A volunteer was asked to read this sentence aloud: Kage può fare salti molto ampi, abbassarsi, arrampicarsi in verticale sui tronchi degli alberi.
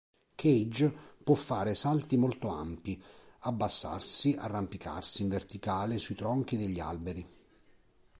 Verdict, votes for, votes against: accepted, 3, 0